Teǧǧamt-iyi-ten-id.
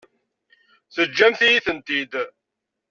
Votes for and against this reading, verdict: 1, 2, rejected